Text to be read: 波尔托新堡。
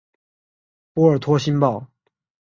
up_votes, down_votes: 5, 0